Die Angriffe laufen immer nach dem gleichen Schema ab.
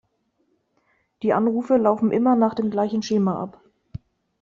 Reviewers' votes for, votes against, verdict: 0, 2, rejected